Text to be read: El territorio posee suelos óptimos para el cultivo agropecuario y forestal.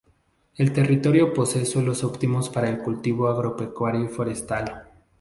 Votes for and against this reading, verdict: 4, 0, accepted